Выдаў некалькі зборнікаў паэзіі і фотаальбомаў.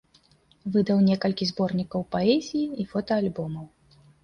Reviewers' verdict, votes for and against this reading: accepted, 2, 0